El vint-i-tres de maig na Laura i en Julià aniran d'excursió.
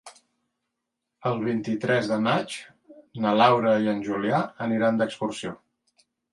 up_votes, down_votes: 2, 1